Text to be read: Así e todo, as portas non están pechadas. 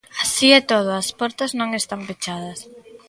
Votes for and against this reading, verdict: 3, 1, accepted